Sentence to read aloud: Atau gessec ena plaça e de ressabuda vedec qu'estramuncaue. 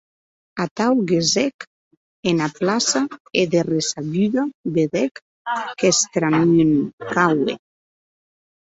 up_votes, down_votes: 0, 2